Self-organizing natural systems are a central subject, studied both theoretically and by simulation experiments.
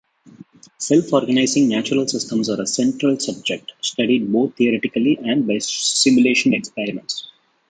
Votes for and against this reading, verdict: 2, 1, accepted